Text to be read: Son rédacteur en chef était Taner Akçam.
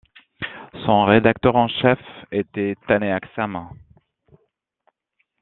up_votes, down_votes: 2, 1